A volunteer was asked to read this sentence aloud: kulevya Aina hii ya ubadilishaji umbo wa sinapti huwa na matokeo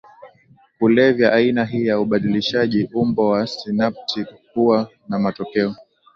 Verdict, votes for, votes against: accepted, 2, 0